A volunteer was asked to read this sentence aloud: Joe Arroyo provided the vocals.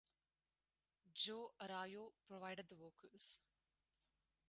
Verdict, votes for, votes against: rejected, 0, 2